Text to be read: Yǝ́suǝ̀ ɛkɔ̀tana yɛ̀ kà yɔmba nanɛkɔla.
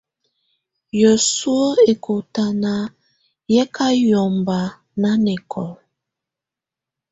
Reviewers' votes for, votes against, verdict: 2, 0, accepted